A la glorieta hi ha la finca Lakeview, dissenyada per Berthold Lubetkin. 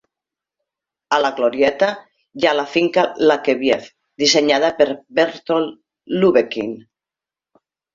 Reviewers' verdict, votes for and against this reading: accepted, 2, 1